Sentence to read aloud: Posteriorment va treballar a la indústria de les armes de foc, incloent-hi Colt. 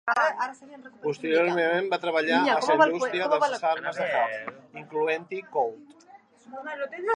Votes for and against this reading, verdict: 0, 2, rejected